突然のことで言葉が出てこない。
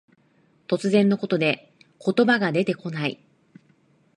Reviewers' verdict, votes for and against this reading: accepted, 3, 0